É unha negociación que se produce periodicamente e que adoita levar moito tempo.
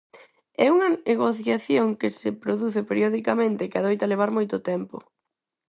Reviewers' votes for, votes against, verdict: 2, 4, rejected